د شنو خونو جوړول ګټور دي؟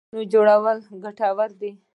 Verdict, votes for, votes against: rejected, 0, 2